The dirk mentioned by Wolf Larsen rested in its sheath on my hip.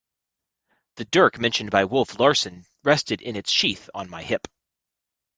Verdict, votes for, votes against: accepted, 2, 0